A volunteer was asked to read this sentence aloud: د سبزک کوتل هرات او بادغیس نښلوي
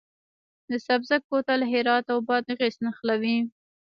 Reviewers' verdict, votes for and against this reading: accepted, 2, 0